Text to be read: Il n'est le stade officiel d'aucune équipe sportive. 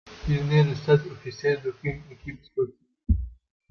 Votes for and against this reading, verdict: 0, 2, rejected